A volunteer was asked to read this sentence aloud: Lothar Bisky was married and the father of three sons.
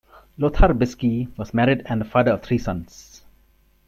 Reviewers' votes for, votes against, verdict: 3, 2, accepted